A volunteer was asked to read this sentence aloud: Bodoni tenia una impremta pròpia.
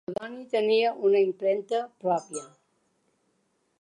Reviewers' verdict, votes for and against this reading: rejected, 1, 2